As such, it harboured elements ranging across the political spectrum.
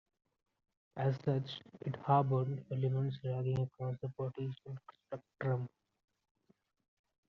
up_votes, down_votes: 0, 2